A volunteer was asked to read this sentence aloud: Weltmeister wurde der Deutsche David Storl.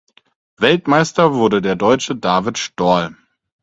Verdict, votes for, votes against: accepted, 4, 0